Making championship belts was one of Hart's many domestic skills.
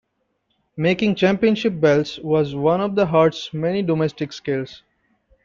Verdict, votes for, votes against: rejected, 0, 2